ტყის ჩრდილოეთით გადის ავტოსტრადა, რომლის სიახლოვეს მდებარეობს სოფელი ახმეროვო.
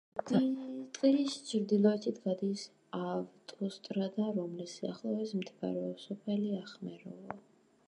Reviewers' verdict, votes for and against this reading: rejected, 1, 2